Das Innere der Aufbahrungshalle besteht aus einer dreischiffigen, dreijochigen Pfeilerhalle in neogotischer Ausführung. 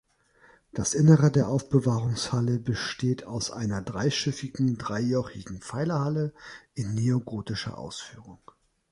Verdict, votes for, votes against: rejected, 1, 2